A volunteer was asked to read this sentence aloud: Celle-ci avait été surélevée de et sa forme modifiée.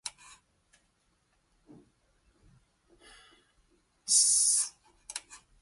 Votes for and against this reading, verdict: 0, 2, rejected